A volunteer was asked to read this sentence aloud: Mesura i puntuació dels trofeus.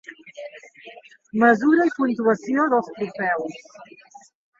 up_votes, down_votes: 1, 2